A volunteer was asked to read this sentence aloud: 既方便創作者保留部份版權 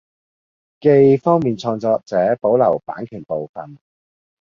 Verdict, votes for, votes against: rejected, 1, 2